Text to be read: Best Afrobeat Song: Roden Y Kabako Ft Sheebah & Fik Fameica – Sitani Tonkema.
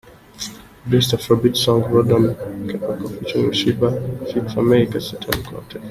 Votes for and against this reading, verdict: 1, 2, rejected